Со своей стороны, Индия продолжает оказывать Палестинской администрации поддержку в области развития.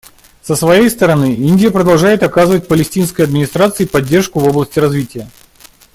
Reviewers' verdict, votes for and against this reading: accepted, 2, 0